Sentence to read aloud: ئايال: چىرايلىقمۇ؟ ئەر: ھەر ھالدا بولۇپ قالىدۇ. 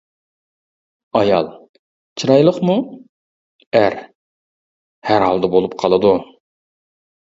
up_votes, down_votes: 2, 0